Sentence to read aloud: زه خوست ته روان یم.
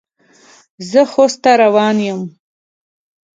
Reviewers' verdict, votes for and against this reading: accepted, 2, 0